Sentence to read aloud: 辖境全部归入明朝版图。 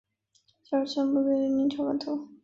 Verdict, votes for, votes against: rejected, 0, 3